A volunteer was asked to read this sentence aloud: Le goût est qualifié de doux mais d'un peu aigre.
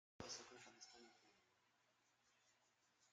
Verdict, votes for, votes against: rejected, 0, 2